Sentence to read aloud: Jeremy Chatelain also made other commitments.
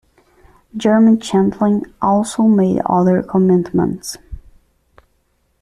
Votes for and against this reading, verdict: 1, 2, rejected